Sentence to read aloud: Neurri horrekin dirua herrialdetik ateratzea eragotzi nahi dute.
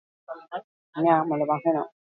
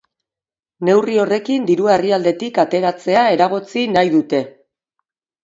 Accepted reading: second